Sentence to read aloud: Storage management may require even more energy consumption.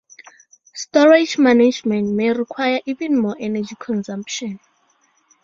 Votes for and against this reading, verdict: 2, 0, accepted